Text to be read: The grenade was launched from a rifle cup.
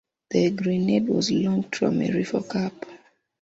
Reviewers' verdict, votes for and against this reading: rejected, 1, 2